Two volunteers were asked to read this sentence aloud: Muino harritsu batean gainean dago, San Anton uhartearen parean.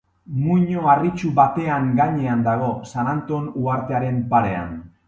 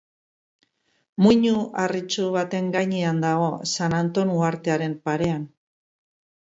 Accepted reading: first